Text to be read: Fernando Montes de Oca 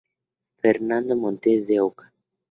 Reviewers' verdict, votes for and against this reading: accepted, 2, 0